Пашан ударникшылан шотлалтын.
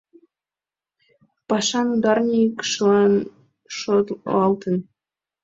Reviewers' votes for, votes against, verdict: 2, 1, accepted